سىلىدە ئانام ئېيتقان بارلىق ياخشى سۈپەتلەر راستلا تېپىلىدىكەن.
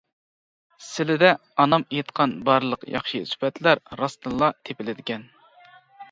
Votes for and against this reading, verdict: 1, 2, rejected